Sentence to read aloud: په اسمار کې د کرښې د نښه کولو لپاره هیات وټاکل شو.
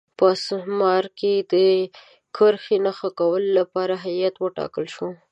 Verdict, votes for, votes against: accepted, 2, 0